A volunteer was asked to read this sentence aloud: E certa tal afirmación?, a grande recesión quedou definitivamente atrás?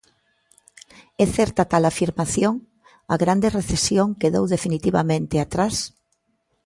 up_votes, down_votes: 2, 0